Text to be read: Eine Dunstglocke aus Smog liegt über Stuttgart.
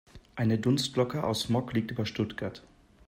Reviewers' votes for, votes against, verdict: 2, 0, accepted